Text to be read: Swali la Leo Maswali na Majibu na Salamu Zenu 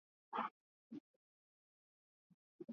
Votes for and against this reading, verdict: 0, 2, rejected